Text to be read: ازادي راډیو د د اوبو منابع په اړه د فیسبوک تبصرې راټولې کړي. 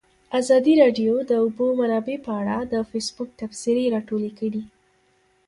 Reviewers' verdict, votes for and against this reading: accepted, 2, 0